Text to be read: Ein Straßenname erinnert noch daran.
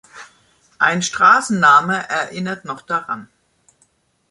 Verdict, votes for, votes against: accepted, 2, 0